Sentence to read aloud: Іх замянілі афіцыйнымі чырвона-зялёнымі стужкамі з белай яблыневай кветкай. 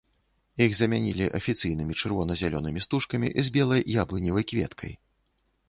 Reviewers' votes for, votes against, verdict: 2, 0, accepted